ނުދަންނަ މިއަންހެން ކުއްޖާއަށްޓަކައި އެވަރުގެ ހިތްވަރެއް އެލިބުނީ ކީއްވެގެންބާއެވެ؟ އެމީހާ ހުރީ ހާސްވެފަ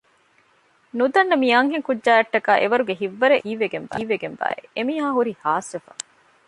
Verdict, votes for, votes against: rejected, 0, 2